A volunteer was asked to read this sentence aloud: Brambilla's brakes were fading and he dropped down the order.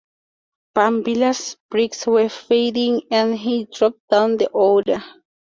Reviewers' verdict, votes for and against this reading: accepted, 4, 2